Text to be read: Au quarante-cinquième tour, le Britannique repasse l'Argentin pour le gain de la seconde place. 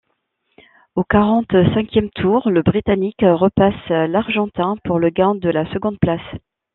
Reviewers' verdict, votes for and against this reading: accepted, 2, 1